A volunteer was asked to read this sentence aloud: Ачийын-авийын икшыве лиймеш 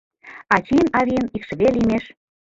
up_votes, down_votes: 2, 1